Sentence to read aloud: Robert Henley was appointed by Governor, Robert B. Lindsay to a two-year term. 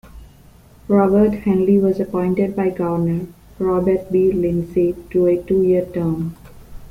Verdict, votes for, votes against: accepted, 2, 1